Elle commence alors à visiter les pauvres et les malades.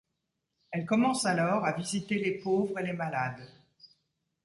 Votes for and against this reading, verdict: 1, 2, rejected